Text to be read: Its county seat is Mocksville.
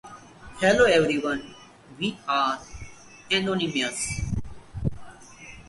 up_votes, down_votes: 0, 4